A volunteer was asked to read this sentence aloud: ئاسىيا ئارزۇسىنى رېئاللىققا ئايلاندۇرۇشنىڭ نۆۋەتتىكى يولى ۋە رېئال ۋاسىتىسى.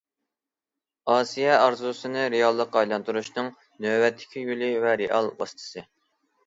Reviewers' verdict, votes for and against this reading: accepted, 2, 0